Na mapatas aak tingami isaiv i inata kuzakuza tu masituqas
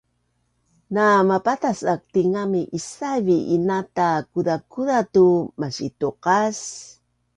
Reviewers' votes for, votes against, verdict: 2, 0, accepted